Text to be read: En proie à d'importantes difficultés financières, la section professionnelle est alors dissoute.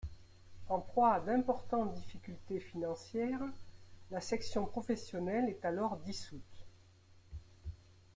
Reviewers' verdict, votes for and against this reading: accepted, 3, 0